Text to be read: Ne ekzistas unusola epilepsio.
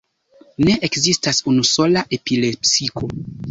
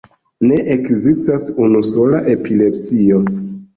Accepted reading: second